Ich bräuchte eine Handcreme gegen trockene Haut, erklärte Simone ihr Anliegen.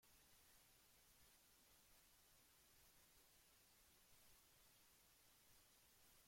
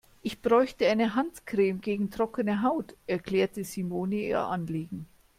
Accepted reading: second